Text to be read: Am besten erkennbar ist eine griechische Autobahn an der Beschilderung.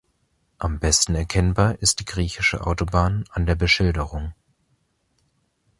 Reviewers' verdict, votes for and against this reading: rejected, 1, 2